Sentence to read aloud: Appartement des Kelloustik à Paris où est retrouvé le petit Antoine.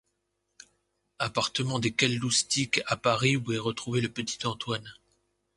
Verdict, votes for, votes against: accepted, 2, 0